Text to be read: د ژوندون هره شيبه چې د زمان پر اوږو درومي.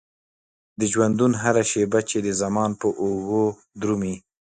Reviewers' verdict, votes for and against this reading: accepted, 2, 0